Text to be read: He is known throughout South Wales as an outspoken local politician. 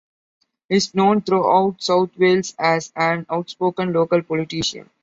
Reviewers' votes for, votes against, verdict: 2, 0, accepted